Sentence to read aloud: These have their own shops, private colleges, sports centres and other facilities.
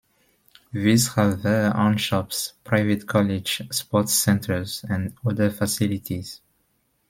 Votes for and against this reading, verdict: 1, 2, rejected